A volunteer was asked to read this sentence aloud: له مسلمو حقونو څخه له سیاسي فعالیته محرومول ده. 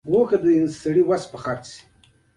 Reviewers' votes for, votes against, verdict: 1, 3, rejected